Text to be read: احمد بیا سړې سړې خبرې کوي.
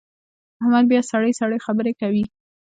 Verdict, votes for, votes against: rejected, 1, 2